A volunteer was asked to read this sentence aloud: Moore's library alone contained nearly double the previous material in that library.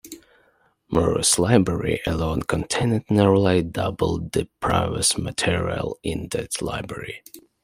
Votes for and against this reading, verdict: 2, 1, accepted